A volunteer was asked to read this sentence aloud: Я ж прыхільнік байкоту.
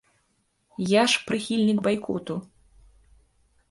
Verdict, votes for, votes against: accepted, 2, 0